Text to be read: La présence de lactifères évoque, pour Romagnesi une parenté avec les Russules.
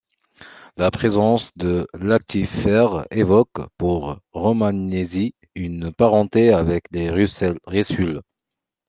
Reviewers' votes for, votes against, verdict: 0, 2, rejected